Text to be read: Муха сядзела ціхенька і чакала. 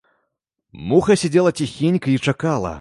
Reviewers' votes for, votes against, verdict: 1, 2, rejected